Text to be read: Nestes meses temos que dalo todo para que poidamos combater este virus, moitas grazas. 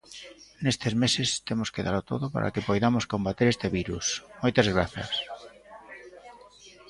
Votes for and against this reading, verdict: 0, 2, rejected